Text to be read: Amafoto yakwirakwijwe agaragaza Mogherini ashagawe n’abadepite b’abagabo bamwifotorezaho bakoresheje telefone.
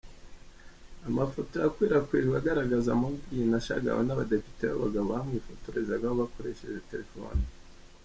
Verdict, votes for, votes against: accepted, 2, 0